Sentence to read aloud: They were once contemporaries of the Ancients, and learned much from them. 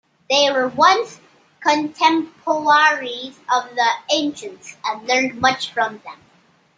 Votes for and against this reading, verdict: 0, 2, rejected